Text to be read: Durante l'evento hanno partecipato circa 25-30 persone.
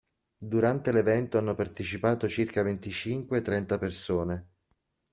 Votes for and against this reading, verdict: 0, 2, rejected